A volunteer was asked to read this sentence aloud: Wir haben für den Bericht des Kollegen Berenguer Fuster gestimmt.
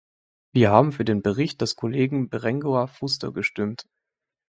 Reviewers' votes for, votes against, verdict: 2, 0, accepted